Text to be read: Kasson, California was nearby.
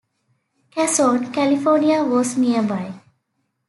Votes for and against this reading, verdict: 2, 0, accepted